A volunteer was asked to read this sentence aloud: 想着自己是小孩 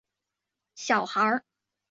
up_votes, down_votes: 2, 5